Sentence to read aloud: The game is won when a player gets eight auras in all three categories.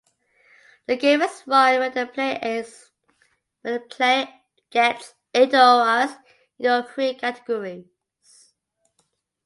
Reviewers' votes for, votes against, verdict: 0, 2, rejected